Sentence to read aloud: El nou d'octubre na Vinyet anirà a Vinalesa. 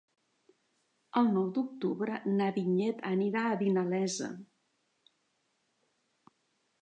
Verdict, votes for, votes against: rejected, 1, 2